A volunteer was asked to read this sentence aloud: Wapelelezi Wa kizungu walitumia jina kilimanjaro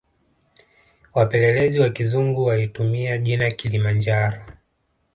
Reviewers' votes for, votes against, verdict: 1, 2, rejected